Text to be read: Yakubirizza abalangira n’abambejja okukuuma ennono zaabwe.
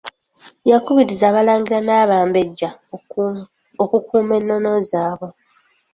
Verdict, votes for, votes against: accepted, 2, 1